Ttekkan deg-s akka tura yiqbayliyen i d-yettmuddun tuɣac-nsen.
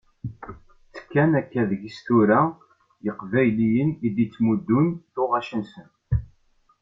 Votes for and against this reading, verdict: 1, 2, rejected